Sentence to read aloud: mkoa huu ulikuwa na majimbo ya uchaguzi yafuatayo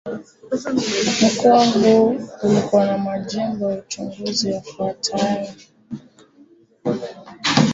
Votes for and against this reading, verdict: 1, 2, rejected